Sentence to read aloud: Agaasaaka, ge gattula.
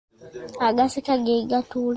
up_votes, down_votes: 1, 2